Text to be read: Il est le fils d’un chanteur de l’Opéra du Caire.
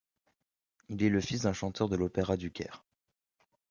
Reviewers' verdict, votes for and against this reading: accepted, 2, 1